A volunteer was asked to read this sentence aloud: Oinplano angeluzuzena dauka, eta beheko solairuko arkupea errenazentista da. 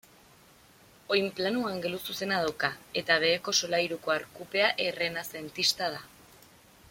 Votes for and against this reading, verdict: 2, 1, accepted